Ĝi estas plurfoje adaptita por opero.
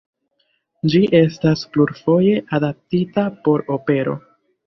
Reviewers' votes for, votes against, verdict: 3, 0, accepted